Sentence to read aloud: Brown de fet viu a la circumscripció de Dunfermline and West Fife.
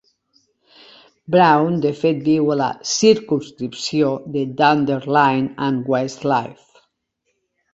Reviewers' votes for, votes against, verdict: 0, 2, rejected